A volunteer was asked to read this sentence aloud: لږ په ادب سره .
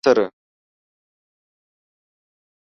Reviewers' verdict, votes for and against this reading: rejected, 0, 2